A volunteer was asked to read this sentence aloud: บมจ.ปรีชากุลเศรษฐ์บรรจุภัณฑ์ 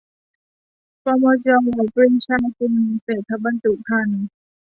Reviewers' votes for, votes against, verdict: 0, 2, rejected